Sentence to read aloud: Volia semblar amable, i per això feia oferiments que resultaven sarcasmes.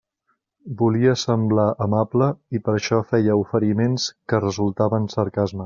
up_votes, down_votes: 3, 0